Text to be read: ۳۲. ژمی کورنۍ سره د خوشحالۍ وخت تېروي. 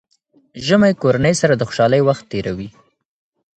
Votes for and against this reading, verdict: 0, 2, rejected